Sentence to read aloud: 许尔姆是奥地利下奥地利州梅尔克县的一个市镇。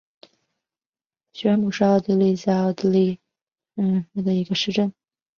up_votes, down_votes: 2, 1